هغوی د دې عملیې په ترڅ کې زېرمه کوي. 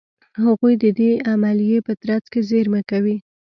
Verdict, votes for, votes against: accepted, 2, 1